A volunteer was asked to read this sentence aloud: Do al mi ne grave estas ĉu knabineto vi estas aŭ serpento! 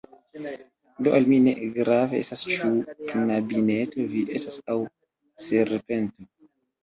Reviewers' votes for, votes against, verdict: 1, 2, rejected